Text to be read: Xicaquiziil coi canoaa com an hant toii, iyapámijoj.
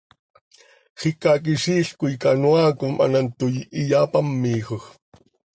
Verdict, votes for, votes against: accepted, 2, 0